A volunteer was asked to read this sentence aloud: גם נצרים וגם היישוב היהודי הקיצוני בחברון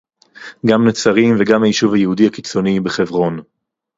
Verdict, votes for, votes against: rejected, 2, 2